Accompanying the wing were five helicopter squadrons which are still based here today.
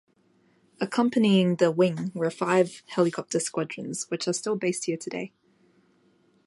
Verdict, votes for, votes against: accepted, 2, 0